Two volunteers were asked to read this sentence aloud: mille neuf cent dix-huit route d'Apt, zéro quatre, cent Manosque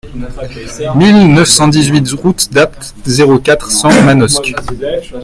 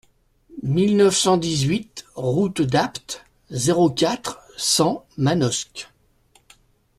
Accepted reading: second